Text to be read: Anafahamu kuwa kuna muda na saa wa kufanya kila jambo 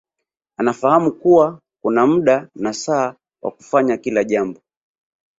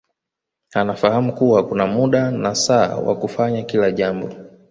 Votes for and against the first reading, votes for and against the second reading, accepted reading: 1, 2, 2, 0, second